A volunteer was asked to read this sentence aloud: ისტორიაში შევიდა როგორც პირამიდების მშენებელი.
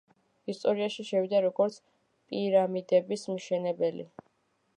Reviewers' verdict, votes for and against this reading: accepted, 2, 0